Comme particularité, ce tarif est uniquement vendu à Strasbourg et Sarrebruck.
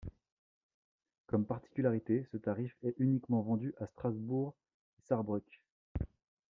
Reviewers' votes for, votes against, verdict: 2, 0, accepted